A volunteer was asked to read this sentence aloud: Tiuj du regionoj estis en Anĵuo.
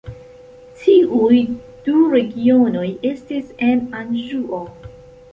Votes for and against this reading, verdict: 2, 0, accepted